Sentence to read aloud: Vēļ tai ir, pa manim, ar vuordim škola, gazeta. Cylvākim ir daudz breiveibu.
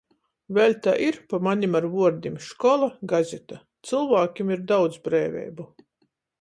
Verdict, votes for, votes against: accepted, 14, 0